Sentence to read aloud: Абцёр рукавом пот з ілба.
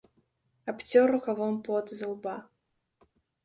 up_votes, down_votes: 2, 0